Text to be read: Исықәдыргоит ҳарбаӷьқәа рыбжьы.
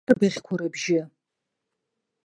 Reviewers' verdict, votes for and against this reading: rejected, 1, 2